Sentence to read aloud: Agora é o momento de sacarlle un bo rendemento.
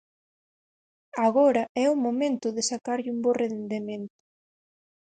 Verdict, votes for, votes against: rejected, 2, 4